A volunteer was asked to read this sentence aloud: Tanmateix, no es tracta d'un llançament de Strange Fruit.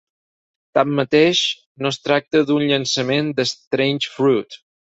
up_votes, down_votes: 0, 4